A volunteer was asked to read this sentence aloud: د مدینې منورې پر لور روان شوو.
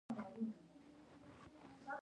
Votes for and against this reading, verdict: 1, 2, rejected